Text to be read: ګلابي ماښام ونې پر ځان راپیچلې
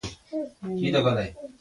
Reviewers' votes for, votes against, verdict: 0, 2, rejected